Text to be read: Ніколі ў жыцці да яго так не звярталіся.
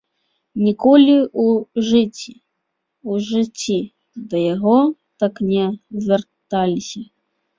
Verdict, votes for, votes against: rejected, 0, 2